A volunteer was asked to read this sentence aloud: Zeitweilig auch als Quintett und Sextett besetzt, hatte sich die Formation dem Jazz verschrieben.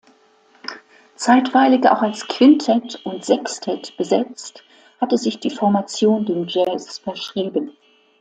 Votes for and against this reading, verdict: 2, 0, accepted